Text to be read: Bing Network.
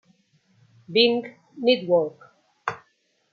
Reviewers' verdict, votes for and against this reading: rejected, 1, 2